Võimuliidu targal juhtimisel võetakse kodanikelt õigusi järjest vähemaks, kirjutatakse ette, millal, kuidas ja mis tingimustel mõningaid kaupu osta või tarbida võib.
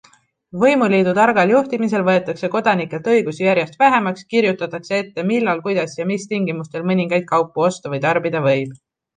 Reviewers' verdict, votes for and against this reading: accepted, 2, 0